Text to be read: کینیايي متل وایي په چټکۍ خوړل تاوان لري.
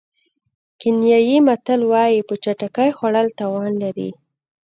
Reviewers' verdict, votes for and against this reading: rejected, 1, 2